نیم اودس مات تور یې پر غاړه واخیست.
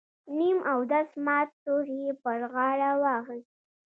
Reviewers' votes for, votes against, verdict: 0, 2, rejected